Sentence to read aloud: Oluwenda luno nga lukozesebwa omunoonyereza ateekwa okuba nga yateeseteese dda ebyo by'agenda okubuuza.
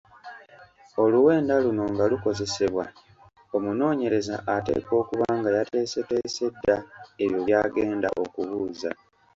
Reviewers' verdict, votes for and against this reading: accepted, 2, 0